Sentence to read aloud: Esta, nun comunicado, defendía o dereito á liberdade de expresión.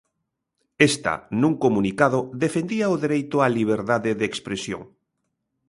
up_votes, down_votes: 2, 0